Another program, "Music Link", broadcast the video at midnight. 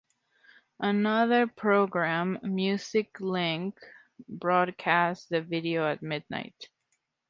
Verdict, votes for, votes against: accepted, 3, 0